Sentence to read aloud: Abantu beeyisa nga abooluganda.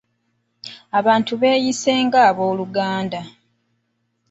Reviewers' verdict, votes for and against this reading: rejected, 1, 2